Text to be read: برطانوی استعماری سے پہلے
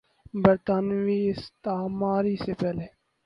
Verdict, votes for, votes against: rejected, 2, 2